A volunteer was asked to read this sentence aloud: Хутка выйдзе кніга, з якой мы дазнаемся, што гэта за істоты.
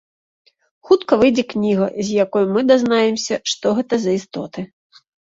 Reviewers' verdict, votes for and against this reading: rejected, 1, 2